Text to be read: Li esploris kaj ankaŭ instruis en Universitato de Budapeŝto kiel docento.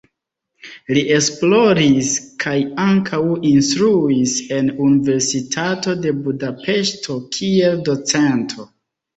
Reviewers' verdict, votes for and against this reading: rejected, 1, 2